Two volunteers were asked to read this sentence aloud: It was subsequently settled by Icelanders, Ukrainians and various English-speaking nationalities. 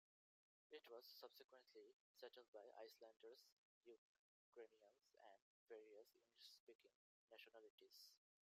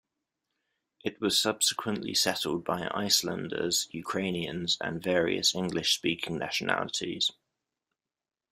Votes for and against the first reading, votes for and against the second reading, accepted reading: 0, 2, 2, 0, second